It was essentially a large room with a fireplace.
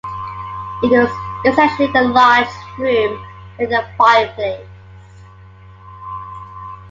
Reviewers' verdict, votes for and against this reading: accepted, 2, 0